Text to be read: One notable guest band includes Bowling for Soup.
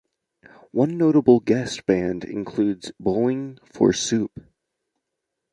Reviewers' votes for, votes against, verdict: 2, 0, accepted